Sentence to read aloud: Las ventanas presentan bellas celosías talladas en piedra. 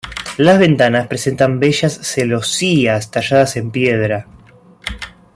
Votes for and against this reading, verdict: 2, 0, accepted